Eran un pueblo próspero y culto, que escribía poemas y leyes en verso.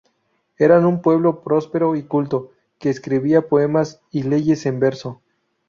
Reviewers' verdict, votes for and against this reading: rejected, 0, 2